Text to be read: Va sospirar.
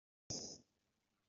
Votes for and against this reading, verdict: 0, 2, rejected